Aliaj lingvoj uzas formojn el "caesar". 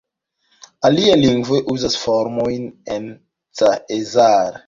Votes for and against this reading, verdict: 1, 2, rejected